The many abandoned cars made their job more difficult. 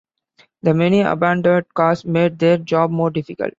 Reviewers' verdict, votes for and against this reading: rejected, 1, 3